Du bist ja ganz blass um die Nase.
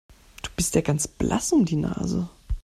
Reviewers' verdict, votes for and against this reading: accepted, 2, 0